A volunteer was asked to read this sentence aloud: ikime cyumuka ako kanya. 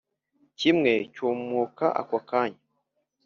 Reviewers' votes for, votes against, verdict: 3, 0, accepted